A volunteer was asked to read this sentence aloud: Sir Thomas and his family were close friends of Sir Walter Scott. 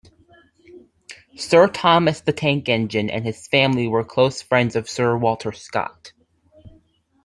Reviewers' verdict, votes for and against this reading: rejected, 0, 2